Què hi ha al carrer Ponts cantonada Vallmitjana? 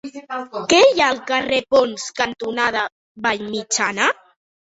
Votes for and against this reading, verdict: 1, 3, rejected